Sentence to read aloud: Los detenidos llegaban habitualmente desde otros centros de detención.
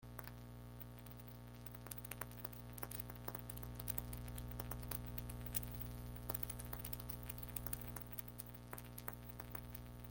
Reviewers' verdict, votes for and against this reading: rejected, 0, 2